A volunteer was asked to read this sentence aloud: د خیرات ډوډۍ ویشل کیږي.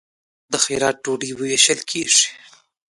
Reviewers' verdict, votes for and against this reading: accepted, 2, 0